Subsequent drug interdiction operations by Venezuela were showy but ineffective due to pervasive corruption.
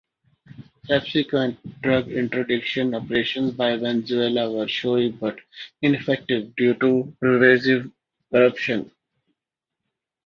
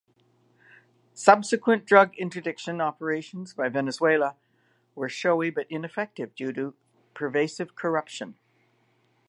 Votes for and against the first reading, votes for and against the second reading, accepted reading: 1, 2, 2, 0, second